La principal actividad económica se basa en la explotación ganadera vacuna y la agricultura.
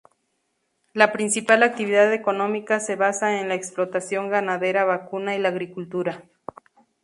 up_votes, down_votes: 2, 0